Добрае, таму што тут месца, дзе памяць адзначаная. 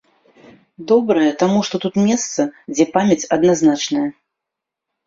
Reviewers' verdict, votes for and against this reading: rejected, 0, 2